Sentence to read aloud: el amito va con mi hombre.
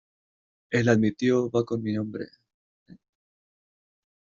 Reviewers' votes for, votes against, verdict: 1, 2, rejected